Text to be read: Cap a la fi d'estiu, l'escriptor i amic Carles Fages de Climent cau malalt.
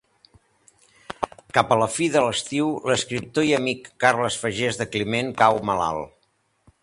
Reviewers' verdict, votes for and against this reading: rejected, 0, 2